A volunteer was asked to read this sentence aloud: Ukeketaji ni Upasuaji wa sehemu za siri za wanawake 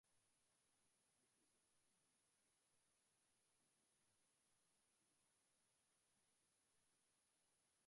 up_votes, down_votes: 0, 2